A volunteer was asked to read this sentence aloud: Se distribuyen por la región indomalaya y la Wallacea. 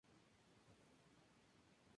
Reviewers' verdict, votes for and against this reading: rejected, 0, 2